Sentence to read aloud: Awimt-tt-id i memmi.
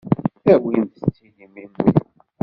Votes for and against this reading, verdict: 0, 2, rejected